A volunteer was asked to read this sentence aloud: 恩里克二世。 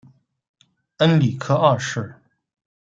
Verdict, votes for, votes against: accepted, 2, 0